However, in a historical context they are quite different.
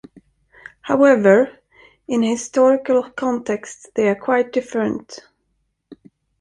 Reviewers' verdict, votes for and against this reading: rejected, 1, 2